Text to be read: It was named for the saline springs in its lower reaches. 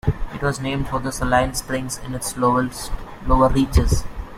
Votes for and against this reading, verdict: 0, 2, rejected